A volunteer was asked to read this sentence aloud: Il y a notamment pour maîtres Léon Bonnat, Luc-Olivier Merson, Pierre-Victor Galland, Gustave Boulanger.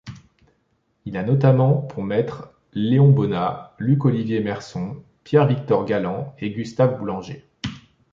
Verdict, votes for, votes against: rejected, 1, 2